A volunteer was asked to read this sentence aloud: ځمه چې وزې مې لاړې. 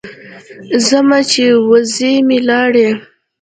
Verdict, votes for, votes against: accepted, 3, 0